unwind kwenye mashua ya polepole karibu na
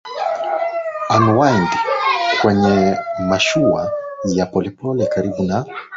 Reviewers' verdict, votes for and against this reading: rejected, 7, 7